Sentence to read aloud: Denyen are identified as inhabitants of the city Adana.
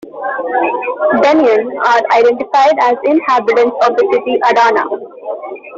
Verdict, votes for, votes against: rejected, 0, 2